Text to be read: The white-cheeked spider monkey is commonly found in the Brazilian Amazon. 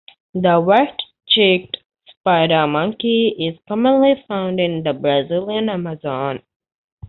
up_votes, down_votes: 2, 1